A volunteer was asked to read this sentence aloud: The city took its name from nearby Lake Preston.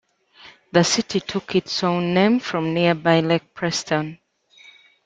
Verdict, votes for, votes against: rejected, 1, 2